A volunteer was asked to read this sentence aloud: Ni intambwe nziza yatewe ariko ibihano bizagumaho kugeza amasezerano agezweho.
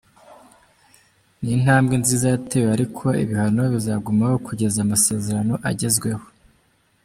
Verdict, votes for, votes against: rejected, 0, 2